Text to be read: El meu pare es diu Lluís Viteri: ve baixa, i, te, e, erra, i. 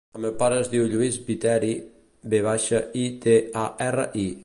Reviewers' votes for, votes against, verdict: 0, 2, rejected